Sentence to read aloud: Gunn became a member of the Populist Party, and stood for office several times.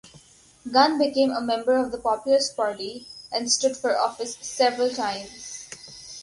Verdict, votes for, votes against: rejected, 2, 2